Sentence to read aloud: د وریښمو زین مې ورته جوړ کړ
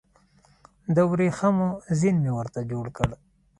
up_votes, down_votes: 2, 0